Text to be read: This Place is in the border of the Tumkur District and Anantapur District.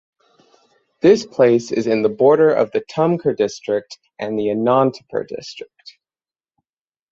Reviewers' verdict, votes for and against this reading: rejected, 3, 6